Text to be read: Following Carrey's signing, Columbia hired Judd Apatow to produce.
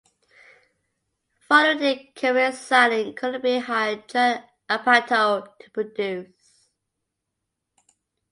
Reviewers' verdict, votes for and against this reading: rejected, 0, 2